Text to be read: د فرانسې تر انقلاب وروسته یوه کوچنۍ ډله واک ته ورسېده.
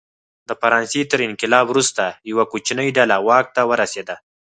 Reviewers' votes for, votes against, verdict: 4, 0, accepted